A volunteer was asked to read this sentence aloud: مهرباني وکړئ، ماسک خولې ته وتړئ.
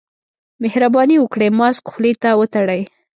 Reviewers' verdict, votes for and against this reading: accepted, 2, 0